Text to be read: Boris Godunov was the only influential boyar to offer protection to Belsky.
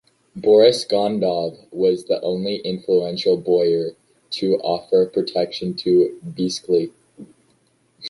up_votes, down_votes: 1, 2